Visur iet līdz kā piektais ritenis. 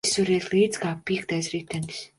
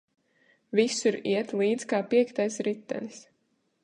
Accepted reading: second